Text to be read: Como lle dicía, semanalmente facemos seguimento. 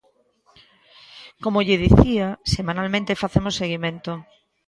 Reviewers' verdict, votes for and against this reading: accepted, 2, 0